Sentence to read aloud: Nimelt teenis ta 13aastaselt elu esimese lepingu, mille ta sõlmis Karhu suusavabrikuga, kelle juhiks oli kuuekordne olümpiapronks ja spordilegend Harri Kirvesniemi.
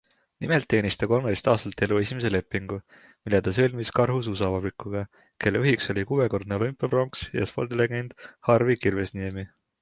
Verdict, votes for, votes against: rejected, 0, 2